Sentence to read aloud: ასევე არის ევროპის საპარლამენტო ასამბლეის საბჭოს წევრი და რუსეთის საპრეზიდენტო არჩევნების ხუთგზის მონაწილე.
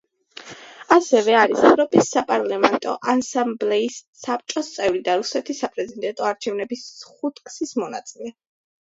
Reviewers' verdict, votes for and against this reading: accepted, 2, 0